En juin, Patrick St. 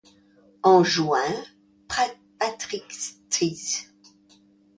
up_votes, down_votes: 0, 2